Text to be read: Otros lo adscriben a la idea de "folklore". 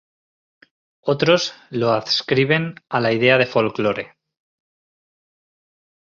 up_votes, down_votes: 2, 0